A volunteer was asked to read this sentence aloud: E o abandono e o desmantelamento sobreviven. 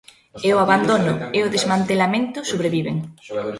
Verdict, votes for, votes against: rejected, 1, 2